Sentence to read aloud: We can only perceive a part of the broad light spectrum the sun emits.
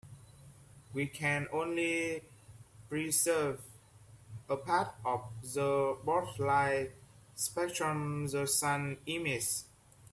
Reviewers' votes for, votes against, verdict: 0, 2, rejected